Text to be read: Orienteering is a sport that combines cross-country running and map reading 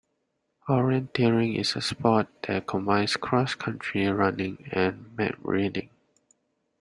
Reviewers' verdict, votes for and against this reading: accepted, 2, 1